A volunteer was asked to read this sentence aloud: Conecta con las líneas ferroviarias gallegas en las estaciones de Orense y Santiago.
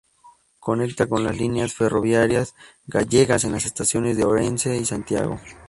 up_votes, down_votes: 2, 0